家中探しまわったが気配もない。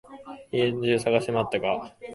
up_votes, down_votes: 0, 3